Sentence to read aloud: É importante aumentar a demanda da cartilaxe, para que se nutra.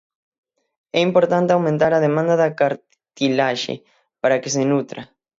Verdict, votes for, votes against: rejected, 0, 6